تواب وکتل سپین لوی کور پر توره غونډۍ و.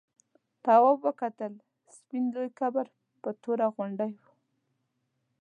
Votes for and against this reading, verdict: 0, 2, rejected